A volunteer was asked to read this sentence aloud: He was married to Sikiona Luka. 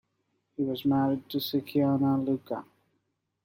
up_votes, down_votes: 2, 0